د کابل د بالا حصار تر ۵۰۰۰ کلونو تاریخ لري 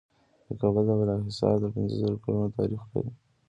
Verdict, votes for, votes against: rejected, 0, 2